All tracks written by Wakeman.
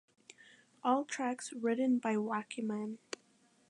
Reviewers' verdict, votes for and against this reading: accepted, 2, 0